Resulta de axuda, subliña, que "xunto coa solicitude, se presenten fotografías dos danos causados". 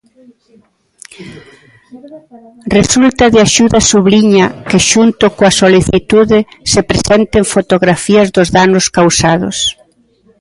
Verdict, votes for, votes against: rejected, 1, 2